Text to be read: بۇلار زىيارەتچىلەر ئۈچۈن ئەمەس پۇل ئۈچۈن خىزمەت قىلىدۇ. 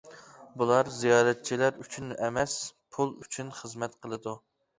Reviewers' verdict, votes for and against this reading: accepted, 2, 0